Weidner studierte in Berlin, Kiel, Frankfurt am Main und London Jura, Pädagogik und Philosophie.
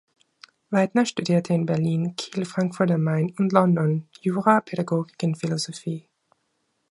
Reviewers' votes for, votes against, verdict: 2, 3, rejected